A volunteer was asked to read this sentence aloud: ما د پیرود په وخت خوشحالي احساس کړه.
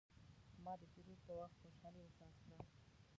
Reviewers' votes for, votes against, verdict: 0, 2, rejected